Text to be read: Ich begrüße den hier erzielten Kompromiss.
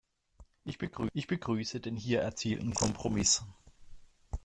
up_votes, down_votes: 0, 2